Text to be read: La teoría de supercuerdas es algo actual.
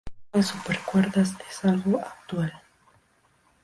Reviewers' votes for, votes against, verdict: 0, 2, rejected